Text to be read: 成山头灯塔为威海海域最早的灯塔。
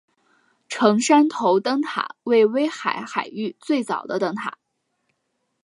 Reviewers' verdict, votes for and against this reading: accepted, 2, 0